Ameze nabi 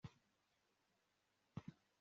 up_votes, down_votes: 1, 2